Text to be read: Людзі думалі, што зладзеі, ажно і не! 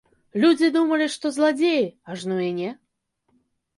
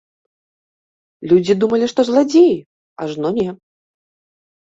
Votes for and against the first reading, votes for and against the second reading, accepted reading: 2, 0, 1, 2, first